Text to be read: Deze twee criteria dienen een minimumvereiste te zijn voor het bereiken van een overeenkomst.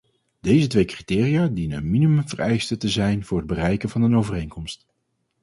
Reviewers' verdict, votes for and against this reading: accepted, 4, 0